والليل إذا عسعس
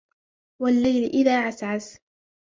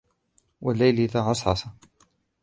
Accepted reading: first